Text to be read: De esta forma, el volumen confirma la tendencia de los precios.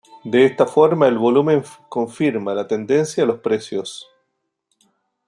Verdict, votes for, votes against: rejected, 0, 2